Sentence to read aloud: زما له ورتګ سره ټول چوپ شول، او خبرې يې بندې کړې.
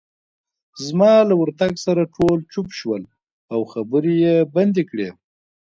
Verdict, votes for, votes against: accepted, 2, 1